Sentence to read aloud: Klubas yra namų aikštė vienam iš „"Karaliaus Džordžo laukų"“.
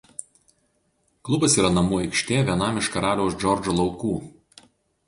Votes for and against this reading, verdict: 0, 2, rejected